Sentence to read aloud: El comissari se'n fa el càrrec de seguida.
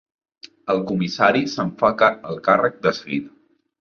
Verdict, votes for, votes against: rejected, 1, 2